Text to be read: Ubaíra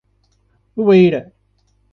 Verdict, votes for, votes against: rejected, 1, 2